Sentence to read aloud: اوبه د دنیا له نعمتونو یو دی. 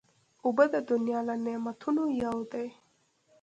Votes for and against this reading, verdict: 2, 0, accepted